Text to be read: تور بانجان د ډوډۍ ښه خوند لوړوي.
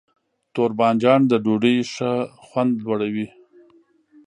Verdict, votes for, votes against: accepted, 4, 1